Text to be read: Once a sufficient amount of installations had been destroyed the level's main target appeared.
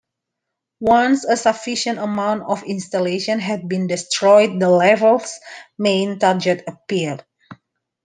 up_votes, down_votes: 0, 2